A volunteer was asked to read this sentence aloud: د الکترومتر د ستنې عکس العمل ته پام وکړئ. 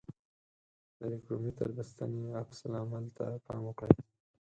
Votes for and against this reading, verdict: 0, 4, rejected